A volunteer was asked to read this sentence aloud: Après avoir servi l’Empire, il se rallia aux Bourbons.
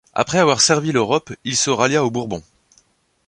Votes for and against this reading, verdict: 0, 2, rejected